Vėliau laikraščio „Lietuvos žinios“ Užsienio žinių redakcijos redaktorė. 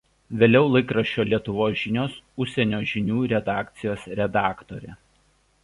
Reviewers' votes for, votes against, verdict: 2, 0, accepted